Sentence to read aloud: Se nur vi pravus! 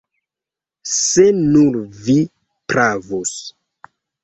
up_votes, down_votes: 2, 0